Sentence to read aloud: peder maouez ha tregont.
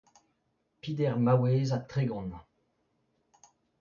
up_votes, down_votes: 2, 0